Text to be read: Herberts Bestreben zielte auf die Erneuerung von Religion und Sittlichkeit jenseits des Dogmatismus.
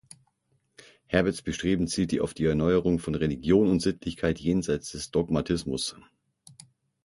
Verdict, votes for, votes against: accepted, 6, 0